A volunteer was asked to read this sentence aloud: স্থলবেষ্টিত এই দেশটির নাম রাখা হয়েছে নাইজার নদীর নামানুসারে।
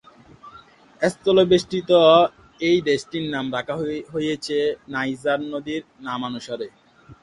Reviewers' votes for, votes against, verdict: 0, 3, rejected